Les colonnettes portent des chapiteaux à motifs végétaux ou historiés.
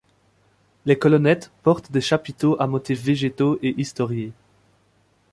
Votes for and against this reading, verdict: 1, 2, rejected